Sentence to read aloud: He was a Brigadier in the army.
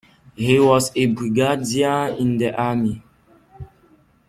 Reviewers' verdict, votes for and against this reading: accepted, 2, 1